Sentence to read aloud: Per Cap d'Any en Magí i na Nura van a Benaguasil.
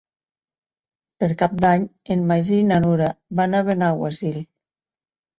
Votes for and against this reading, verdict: 6, 0, accepted